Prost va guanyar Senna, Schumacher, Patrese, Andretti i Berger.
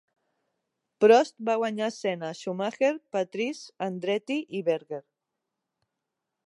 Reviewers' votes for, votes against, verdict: 2, 0, accepted